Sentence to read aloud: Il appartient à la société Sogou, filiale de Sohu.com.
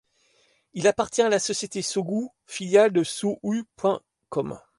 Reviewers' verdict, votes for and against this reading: rejected, 1, 2